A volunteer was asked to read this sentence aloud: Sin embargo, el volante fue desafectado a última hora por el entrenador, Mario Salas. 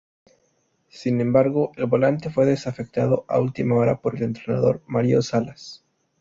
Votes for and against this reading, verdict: 2, 0, accepted